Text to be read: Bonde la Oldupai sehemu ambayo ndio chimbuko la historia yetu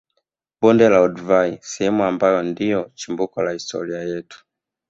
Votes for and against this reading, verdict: 2, 1, accepted